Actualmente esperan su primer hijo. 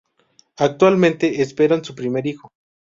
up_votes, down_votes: 2, 0